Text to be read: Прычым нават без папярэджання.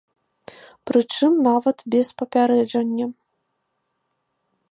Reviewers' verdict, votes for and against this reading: accepted, 2, 0